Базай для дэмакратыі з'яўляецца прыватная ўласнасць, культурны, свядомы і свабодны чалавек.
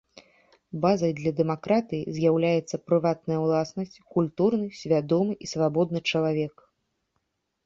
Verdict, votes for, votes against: accepted, 2, 0